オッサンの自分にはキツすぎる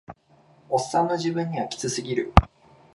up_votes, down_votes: 2, 0